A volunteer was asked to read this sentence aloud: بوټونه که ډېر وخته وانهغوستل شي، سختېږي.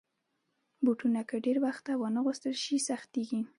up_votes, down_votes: 2, 0